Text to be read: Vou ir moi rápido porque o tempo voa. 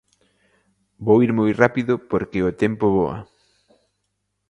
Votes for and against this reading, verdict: 2, 0, accepted